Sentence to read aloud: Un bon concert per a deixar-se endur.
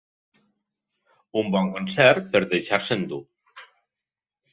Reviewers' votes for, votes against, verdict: 2, 0, accepted